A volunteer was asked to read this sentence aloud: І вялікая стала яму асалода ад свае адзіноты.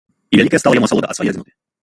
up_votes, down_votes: 0, 2